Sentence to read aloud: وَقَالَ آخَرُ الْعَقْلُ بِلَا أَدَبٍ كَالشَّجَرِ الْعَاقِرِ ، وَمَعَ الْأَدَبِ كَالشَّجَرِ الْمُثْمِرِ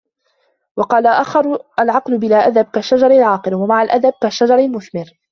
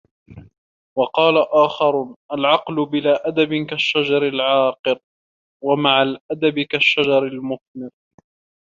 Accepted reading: first